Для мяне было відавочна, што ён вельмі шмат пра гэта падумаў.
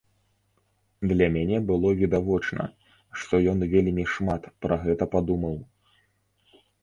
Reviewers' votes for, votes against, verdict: 2, 0, accepted